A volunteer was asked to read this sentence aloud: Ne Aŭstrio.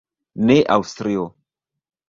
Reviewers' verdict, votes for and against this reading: rejected, 0, 2